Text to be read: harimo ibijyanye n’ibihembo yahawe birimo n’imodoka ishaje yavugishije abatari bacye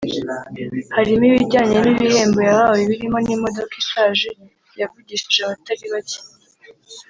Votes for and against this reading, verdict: 1, 2, rejected